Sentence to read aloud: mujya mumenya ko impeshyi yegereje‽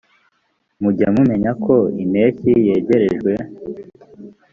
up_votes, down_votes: 0, 2